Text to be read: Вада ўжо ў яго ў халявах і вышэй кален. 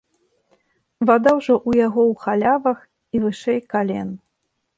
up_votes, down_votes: 2, 0